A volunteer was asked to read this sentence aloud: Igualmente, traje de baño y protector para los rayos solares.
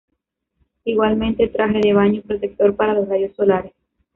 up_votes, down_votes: 1, 2